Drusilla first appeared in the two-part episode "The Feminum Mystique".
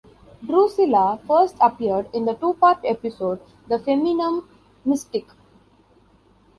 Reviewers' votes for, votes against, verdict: 2, 0, accepted